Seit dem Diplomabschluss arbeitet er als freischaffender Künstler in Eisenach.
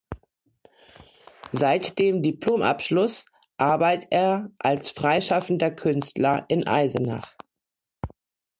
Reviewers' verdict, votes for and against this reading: rejected, 0, 2